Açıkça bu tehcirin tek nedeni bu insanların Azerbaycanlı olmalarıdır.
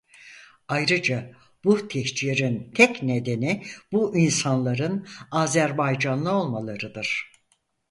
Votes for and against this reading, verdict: 0, 4, rejected